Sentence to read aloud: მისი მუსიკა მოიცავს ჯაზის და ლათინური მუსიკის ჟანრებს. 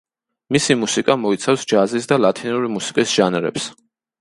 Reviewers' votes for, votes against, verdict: 2, 0, accepted